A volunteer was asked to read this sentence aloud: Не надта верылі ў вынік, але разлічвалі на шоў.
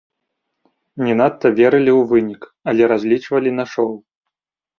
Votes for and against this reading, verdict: 1, 2, rejected